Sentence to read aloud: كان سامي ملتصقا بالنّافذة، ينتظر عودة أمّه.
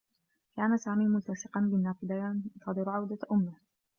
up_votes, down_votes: 1, 2